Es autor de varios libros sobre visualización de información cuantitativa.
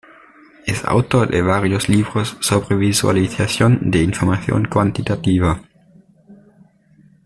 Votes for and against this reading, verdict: 1, 2, rejected